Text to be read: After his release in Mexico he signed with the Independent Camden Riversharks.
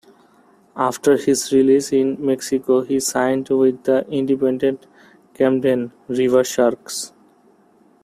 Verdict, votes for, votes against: accepted, 2, 0